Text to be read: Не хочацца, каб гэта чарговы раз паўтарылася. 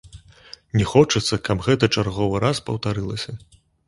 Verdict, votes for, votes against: accepted, 2, 0